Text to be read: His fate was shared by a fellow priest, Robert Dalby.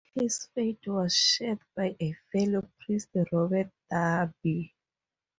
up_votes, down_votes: 2, 0